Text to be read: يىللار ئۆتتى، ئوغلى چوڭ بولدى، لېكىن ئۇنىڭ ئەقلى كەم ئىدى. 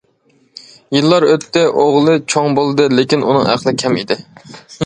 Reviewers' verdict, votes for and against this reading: accepted, 2, 0